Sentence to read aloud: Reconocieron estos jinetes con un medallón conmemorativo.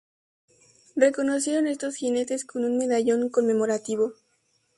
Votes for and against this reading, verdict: 2, 0, accepted